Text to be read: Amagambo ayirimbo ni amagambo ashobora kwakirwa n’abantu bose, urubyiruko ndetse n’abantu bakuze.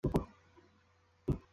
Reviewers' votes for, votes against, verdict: 2, 1, accepted